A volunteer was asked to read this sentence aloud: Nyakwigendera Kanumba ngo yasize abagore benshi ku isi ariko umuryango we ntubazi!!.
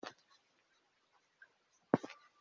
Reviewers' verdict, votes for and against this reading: rejected, 1, 2